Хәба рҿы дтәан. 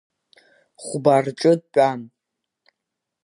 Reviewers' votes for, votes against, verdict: 2, 0, accepted